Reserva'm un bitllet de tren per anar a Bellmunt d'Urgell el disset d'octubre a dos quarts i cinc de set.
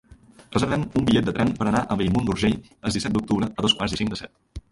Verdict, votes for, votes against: rejected, 0, 2